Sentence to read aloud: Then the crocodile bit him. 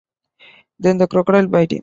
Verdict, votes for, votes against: rejected, 1, 2